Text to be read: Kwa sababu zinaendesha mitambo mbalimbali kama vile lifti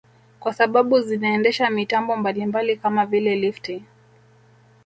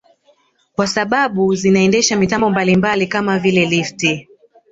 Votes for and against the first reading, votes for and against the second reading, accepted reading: 1, 2, 2, 1, second